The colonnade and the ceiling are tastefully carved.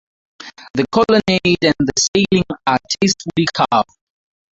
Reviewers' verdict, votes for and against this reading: rejected, 0, 4